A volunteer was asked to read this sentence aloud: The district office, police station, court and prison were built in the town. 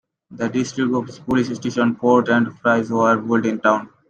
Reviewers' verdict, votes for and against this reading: rejected, 1, 2